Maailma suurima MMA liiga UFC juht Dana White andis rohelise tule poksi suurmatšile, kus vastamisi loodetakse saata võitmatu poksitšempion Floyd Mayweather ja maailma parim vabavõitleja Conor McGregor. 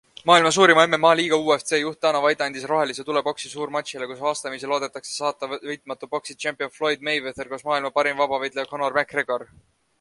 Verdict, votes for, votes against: rejected, 0, 2